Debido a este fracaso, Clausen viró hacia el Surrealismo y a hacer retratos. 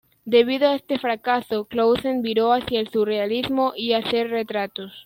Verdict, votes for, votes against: accepted, 2, 0